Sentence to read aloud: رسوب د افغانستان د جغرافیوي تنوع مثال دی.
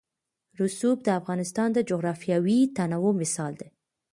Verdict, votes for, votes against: rejected, 1, 2